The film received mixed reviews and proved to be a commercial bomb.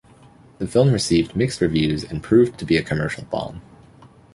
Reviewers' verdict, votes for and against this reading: accepted, 2, 0